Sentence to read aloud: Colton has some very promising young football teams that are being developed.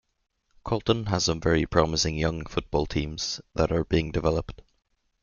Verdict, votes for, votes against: accepted, 2, 0